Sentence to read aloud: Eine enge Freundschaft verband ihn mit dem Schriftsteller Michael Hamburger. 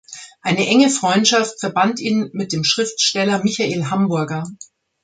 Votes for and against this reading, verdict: 2, 0, accepted